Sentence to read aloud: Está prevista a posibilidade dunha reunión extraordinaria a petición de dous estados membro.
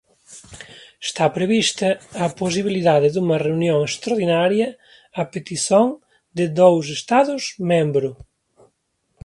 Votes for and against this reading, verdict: 0, 2, rejected